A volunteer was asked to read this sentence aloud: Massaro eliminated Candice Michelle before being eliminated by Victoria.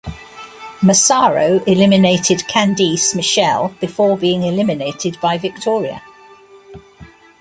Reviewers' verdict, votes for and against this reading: rejected, 1, 2